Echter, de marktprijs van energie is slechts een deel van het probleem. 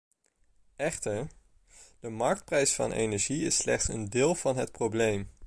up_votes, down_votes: 2, 0